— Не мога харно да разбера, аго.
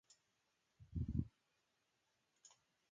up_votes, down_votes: 0, 2